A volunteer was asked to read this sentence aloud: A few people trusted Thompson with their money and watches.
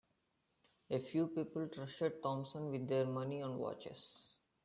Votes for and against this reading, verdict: 2, 0, accepted